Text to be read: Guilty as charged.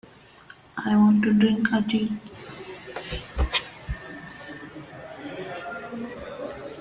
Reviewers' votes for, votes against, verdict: 0, 2, rejected